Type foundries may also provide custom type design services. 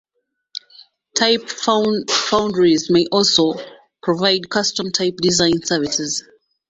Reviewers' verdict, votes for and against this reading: rejected, 1, 2